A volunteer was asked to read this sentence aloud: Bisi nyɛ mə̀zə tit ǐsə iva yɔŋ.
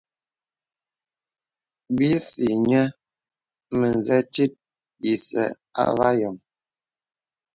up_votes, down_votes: 2, 0